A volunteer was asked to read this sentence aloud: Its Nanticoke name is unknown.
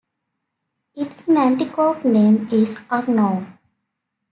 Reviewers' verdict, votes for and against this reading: accepted, 2, 0